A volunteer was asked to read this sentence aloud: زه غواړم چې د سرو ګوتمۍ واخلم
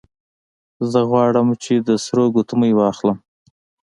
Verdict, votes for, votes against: accepted, 2, 0